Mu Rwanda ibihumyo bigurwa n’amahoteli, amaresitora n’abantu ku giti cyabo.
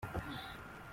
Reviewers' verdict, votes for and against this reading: rejected, 0, 2